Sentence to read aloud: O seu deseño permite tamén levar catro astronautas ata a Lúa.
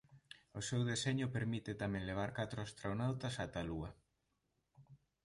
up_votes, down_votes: 2, 0